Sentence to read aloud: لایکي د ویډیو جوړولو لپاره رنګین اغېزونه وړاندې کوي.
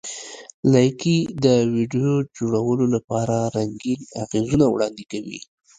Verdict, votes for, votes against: accepted, 2, 0